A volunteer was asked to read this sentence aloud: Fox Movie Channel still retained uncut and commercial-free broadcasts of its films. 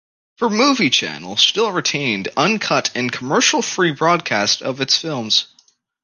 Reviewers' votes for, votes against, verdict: 1, 2, rejected